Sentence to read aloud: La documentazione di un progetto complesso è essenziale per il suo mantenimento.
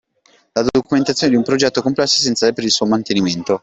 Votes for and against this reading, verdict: 2, 0, accepted